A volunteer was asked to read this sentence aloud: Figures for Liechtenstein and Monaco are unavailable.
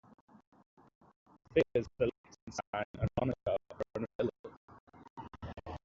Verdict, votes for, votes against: rejected, 0, 2